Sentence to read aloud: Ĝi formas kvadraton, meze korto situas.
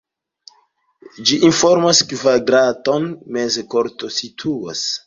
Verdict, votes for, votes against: rejected, 1, 2